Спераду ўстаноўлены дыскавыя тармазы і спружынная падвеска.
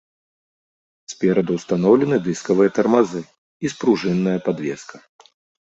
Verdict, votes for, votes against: accepted, 2, 0